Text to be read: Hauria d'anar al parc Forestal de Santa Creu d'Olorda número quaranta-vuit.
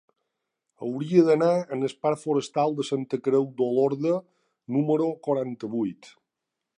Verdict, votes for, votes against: rejected, 1, 2